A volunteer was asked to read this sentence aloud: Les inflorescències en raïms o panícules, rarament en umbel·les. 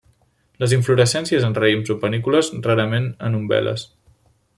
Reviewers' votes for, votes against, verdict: 2, 0, accepted